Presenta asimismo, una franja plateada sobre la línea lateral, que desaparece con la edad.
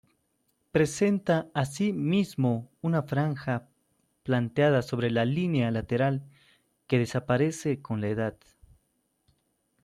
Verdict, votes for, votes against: rejected, 0, 2